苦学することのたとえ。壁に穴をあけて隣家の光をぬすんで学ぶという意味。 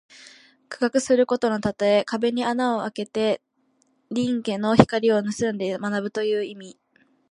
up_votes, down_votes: 0, 2